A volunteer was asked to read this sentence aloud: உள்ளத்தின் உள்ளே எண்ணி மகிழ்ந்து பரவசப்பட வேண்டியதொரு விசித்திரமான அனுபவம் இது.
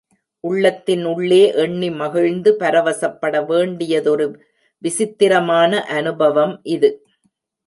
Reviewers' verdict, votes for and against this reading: accepted, 2, 0